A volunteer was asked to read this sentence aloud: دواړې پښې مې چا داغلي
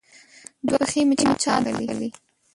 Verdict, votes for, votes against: rejected, 0, 2